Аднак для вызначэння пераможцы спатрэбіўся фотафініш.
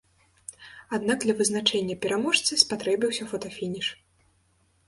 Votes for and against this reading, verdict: 2, 0, accepted